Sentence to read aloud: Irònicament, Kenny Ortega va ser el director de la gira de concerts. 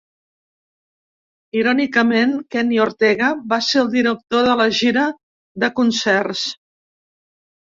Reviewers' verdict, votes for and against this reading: rejected, 1, 2